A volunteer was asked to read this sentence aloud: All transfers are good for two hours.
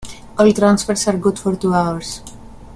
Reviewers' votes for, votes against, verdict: 2, 0, accepted